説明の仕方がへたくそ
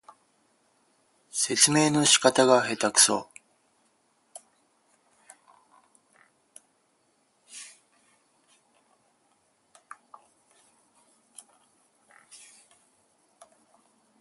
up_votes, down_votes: 4, 4